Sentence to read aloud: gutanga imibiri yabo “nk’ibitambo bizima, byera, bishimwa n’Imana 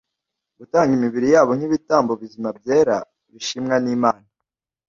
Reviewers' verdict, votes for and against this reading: rejected, 0, 2